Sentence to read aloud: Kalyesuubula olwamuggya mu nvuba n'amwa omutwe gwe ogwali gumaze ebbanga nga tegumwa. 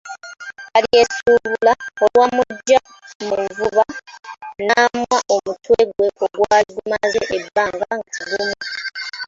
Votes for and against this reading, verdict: 0, 2, rejected